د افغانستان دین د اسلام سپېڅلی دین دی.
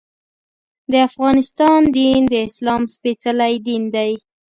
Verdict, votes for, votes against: accepted, 2, 0